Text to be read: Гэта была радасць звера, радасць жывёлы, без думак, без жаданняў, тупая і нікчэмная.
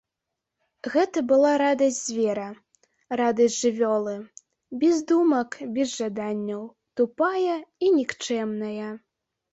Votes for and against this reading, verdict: 2, 0, accepted